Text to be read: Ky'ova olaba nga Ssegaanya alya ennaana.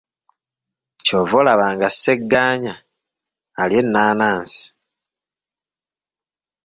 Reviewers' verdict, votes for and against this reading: rejected, 2, 3